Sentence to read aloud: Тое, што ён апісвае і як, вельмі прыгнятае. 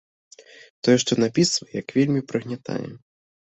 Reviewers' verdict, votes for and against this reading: rejected, 0, 2